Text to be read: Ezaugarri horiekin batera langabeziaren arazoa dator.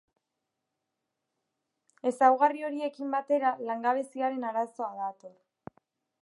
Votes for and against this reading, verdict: 2, 0, accepted